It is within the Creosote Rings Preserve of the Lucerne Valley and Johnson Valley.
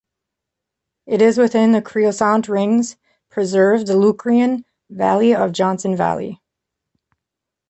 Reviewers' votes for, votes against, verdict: 1, 3, rejected